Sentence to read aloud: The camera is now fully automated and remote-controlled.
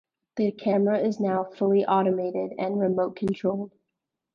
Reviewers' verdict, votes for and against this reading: rejected, 0, 2